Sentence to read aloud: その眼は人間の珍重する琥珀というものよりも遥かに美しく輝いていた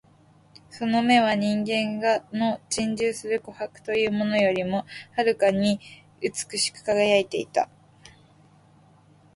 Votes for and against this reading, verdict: 1, 2, rejected